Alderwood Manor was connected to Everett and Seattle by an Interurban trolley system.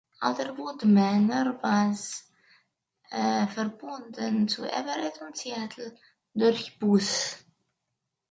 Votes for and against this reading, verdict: 0, 2, rejected